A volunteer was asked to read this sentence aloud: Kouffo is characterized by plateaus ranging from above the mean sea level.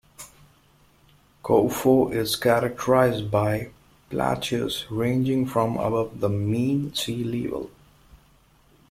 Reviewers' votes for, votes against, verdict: 2, 1, accepted